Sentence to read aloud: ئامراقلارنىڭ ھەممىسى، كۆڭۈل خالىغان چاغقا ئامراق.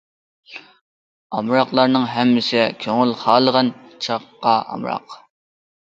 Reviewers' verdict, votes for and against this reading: accepted, 2, 0